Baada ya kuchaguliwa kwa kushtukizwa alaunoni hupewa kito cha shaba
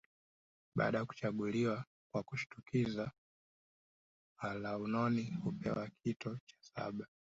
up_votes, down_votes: 1, 2